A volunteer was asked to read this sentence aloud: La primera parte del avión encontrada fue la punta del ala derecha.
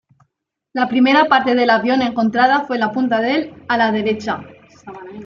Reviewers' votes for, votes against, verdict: 1, 2, rejected